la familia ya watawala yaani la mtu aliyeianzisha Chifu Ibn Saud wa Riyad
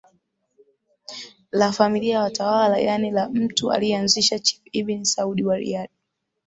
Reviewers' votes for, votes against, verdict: 0, 2, rejected